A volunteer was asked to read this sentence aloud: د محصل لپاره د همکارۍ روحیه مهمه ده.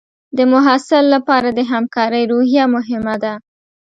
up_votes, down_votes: 2, 0